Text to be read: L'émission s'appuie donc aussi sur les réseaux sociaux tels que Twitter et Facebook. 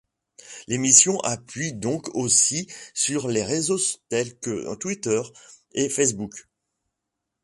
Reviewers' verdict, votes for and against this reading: rejected, 1, 2